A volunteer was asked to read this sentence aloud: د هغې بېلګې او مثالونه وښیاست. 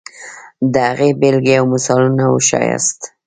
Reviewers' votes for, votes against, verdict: 1, 2, rejected